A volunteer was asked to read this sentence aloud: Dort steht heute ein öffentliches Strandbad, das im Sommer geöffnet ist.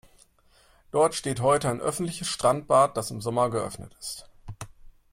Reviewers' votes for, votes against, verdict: 2, 0, accepted